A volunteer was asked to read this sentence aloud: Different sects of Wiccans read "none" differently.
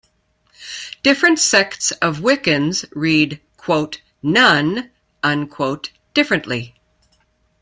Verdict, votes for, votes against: rejected, 1, 2